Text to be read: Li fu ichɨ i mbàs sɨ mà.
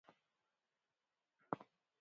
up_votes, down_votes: 0, 2